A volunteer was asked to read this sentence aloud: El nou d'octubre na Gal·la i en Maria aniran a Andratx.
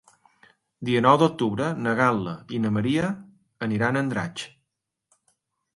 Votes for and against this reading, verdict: 0, 2, rejected